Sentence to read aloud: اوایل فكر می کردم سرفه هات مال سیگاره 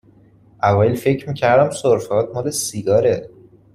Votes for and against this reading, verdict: 2, 0, accepted